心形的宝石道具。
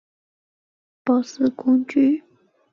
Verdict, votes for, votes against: rejected, 1, 5